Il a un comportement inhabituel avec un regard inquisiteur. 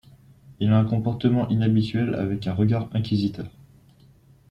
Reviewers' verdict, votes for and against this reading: accepted, 2, 0